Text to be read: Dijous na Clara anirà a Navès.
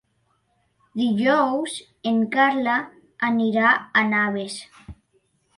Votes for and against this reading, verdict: 0, 2, rejected